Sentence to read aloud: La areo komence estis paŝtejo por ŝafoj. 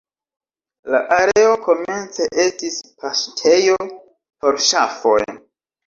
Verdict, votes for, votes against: rejected, 1, 3